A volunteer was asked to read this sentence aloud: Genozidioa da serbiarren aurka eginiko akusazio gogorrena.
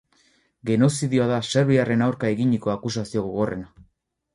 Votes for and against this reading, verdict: 2, 2, rejected